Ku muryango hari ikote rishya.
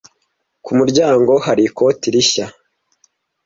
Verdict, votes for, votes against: accepted, 2, 0